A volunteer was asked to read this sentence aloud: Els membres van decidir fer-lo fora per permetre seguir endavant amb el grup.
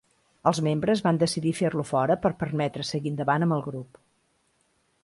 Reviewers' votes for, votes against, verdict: 2, 0, accepted